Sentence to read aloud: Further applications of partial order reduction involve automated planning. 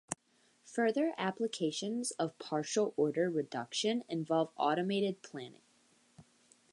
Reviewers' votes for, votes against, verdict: 2, 0, accepted